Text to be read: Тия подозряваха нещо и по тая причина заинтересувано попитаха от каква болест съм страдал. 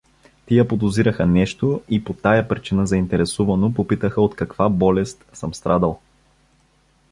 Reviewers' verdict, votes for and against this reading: rejected, 1, 2